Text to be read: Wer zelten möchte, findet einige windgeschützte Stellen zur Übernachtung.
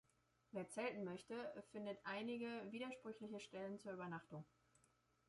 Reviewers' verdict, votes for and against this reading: rejected, 0, 2